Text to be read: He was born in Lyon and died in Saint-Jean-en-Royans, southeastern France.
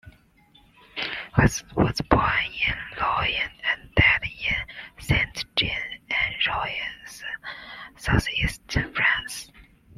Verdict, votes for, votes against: rejected, 0, 2